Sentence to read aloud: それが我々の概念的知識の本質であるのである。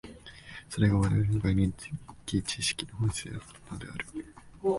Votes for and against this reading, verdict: 0, 2, rejected